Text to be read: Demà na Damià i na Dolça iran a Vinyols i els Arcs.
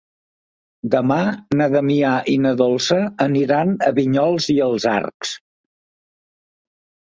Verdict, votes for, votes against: rejected, 1, 2